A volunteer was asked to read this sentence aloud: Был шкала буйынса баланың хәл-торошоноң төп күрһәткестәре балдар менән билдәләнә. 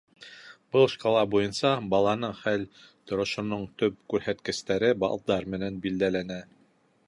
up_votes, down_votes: 2, 0